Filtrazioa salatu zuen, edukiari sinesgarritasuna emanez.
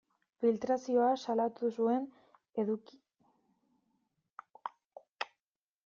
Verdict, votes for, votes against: rejected, 0, 2